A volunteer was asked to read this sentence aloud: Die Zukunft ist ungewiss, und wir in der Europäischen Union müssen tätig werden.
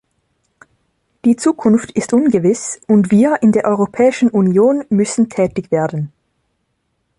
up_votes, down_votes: 3, 0